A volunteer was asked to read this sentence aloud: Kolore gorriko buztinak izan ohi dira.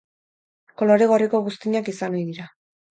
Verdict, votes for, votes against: accepted, 4, 0